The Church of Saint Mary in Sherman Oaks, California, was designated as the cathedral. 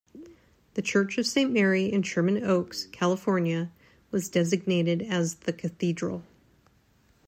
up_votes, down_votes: 3, 0